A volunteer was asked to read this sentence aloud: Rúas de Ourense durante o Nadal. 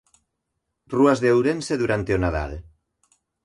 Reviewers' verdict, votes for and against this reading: rejected, 1, 2